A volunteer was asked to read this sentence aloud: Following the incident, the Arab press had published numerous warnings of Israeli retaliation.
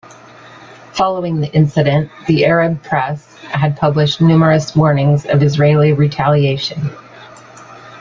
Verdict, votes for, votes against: accepted, 2, 0